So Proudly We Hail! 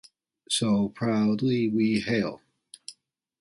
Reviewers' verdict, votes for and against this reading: accepted, 2, 0